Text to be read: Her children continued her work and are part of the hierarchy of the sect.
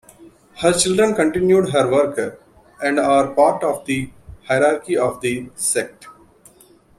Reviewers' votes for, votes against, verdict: 2, 0, accepted